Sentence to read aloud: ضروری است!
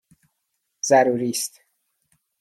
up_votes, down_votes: 2, 0